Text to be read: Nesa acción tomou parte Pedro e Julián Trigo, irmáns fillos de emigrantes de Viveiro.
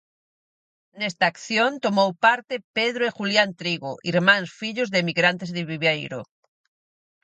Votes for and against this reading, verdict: 0, 4, rejected